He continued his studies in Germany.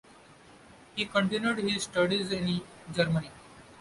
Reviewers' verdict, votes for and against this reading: rejected, 1, 2